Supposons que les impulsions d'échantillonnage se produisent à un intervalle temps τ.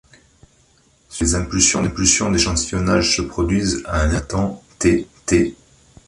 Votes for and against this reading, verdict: 0, 4, rejected